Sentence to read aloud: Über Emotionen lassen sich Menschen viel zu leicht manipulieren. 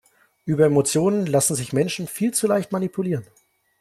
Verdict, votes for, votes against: accepted, 2, 1